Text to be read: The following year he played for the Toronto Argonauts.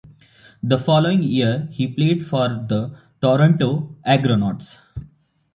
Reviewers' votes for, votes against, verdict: 2, 1, accepted